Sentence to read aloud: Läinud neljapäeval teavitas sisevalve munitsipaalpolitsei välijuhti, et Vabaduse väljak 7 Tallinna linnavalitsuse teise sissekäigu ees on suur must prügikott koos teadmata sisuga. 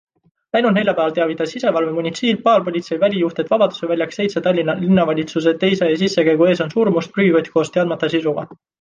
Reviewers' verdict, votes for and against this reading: rejected, 0, 2